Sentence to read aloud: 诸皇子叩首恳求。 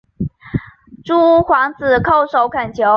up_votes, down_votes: 4, 1